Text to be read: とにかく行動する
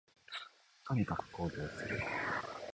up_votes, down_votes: 3, 1